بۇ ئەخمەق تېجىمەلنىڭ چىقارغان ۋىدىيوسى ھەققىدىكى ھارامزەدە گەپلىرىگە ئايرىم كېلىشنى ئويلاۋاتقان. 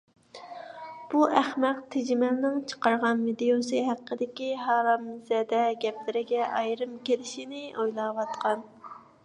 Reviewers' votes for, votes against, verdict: 1, 2, rejected